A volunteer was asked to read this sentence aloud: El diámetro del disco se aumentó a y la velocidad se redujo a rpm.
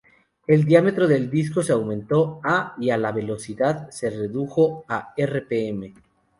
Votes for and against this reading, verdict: 0, 2, rejected